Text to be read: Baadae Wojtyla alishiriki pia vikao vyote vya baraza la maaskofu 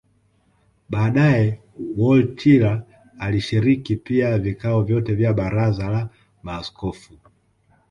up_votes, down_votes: 2, 0